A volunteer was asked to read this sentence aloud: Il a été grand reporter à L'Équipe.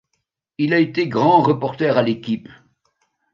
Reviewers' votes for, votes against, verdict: 2, 0, accepted